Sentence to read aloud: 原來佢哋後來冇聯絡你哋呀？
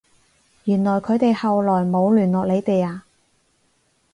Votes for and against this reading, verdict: 4, 0, accepted